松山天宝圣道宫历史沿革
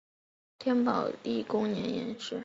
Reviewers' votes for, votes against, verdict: 3, 5, rejected